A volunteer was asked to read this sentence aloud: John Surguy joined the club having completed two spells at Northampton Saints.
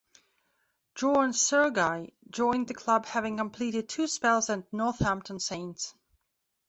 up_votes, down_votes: 2, 0